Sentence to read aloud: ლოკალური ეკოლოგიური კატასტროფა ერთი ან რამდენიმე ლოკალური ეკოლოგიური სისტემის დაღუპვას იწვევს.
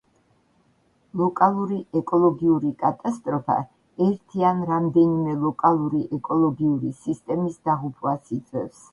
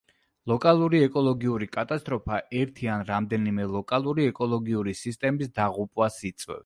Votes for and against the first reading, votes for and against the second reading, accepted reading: 3, 0, 0, 2, first